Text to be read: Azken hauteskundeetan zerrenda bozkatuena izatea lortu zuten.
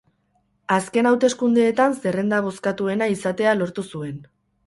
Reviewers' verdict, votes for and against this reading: rejected, 0, 4